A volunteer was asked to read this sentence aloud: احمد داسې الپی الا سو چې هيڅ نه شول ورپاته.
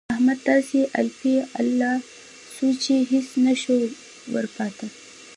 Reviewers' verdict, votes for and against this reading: accepted, 2, 0